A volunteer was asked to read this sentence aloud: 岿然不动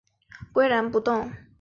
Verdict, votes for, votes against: accepted, 2, 0